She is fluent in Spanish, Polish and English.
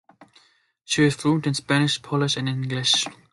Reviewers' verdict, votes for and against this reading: accepted, 2, 1